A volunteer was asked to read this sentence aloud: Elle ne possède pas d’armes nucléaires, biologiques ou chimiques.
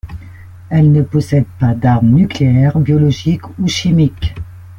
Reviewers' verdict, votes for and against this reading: accepted, 2, 0